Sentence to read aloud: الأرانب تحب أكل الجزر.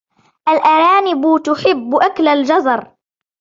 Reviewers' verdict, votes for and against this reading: accepted, 3, 0